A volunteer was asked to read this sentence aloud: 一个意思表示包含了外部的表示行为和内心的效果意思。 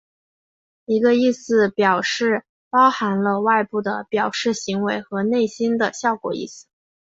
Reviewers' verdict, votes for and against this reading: accepted, 4, 1